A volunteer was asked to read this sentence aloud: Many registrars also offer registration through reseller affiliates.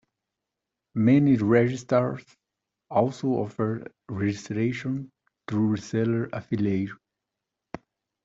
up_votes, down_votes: 1, 2